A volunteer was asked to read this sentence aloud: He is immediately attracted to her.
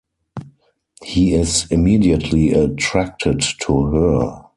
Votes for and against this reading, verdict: 4, 0, accepted